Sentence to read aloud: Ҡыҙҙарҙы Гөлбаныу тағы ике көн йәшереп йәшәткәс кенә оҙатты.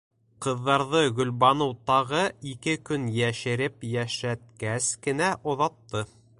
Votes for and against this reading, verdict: 2, 0, accepted